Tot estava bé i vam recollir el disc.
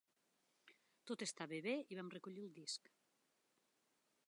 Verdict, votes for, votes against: accepted, 2, 1